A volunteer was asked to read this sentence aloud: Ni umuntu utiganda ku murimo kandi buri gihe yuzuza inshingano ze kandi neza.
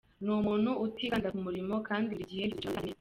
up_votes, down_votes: 0, 2